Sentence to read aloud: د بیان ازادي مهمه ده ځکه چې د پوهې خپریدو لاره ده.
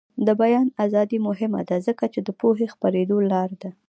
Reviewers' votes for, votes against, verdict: 0, 2, rejected